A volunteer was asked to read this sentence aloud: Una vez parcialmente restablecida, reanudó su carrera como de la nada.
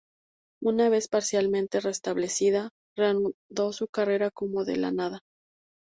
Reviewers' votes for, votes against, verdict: 2, 0, accepted